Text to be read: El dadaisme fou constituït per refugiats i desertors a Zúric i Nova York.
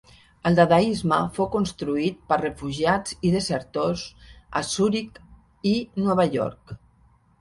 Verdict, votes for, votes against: rejected, 1, 2